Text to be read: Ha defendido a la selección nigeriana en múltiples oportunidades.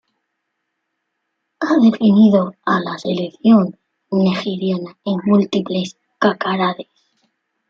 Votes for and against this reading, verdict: 0, 2, rejected